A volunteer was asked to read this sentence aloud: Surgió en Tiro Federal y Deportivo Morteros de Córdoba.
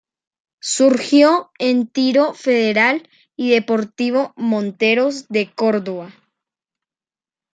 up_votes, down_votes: 0, 2